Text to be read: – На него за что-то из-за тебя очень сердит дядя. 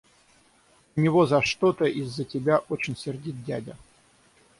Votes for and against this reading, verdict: 0, 6, rejected